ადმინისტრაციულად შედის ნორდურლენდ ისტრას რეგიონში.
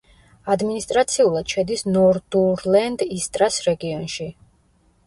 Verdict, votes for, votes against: accepted, 2, 1